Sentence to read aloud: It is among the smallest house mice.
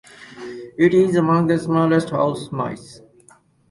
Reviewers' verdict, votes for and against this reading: accepted, 4, 0